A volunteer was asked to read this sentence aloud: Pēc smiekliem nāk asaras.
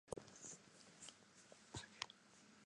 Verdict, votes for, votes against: rejected, 0, 2